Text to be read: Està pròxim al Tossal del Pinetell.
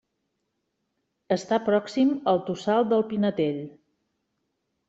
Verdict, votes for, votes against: accepted, 2, 0